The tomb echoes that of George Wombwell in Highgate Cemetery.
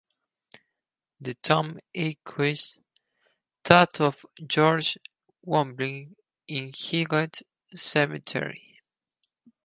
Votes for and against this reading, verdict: 0, 4, rejected